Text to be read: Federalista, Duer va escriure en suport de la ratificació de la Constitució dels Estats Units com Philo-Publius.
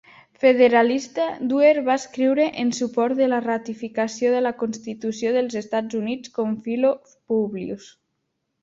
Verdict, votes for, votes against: accepted, 2, 1